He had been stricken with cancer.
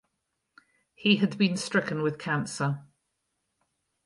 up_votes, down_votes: 4, 0